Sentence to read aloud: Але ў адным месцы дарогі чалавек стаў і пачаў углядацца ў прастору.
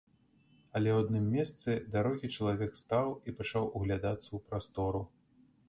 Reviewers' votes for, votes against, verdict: 1, 2, rejected